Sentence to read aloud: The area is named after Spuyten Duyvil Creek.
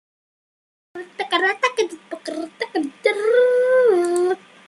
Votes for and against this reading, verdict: 0, 2, rejected